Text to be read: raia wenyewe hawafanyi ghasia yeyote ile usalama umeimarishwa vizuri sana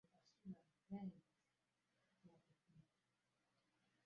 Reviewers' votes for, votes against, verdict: 0, 2, rejected